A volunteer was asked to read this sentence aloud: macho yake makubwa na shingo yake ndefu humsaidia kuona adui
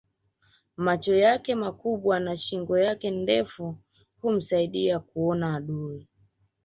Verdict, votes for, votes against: rejected, 0, 2